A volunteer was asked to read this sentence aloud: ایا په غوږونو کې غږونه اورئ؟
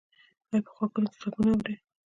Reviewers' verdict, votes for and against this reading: rejected, 1, 3